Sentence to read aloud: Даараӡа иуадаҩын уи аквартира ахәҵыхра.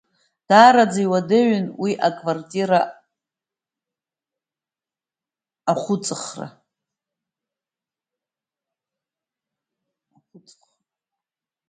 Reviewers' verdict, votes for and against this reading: rejected, 0, 2